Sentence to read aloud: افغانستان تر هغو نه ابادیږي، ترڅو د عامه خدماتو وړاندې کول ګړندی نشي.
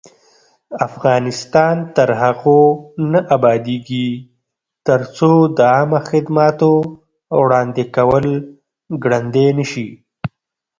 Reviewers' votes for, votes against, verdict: 2, 0, accepted